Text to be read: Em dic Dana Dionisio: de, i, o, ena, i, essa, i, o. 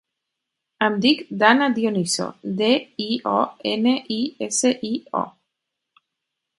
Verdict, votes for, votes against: rejected, 2, 4